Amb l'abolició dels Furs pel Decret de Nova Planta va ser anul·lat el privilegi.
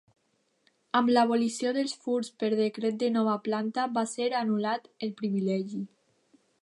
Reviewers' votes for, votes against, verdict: 1, 2, rejected